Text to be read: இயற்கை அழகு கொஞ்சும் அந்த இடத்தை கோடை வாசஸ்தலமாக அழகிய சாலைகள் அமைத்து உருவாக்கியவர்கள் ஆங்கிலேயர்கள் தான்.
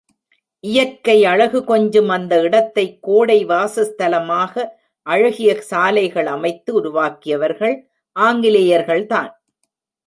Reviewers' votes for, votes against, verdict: 2, 0, accepted